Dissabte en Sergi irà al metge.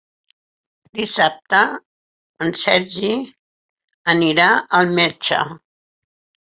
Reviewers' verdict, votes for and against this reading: rejected, 2, 4